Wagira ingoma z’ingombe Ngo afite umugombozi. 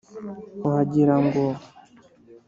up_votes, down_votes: 1, 2